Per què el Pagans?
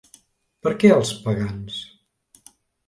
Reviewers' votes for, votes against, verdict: 1, 2, rejected